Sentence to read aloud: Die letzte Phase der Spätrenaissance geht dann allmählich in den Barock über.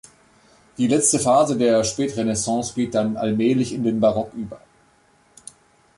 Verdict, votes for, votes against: accepted, 3, 0